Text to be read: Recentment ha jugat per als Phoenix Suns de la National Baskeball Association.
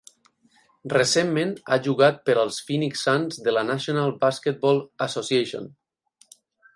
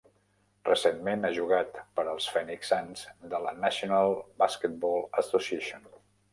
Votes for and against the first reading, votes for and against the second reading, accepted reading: 8, 0, 0, 2, first